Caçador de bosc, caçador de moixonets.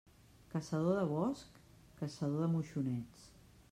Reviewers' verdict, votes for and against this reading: rejected, 1, 2